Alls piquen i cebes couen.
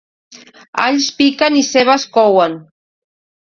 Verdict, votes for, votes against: accepted, 2, 0